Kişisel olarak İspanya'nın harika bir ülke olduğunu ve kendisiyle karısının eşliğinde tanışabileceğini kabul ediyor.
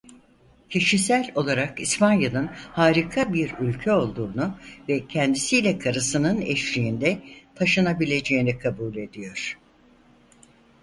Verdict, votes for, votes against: rejected, 0, 4